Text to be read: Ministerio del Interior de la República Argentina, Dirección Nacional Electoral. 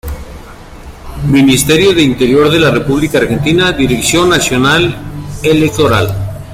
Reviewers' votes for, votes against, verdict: 0, 2, rejected